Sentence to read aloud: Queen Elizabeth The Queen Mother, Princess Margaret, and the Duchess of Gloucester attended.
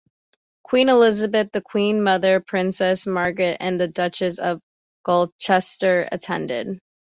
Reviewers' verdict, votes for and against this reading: accepted, 2, 1